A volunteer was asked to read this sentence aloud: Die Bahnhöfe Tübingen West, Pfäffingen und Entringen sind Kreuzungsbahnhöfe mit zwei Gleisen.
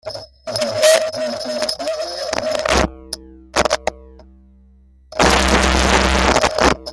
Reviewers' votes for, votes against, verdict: 0, 2, rejected